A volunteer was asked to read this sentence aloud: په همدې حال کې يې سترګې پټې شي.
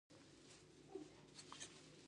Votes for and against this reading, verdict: 0, 2, rejected